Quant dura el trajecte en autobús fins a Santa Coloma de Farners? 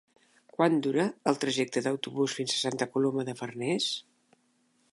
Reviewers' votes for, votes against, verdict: 4, 2, accepted